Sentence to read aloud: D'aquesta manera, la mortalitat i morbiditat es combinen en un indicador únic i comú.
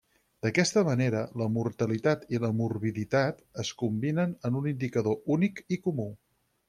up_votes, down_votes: 4, 0